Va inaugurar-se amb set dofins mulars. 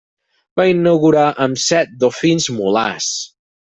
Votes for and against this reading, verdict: 0, 4, rejected